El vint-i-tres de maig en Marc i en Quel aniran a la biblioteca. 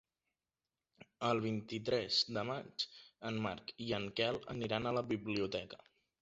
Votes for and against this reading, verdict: 2, 0, accepted